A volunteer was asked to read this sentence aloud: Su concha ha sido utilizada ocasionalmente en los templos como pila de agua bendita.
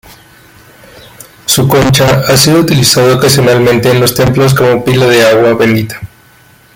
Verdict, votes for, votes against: rejected, 0, 3